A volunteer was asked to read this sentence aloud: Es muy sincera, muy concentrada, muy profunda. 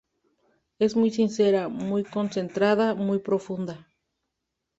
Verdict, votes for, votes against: rejected, 0, 2